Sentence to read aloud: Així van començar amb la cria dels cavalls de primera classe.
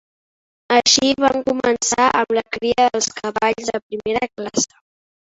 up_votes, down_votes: 0, 2